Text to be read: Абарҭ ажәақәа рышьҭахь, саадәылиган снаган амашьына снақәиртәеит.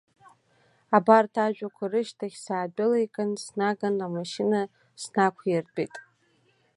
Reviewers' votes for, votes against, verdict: 2, 1, accepted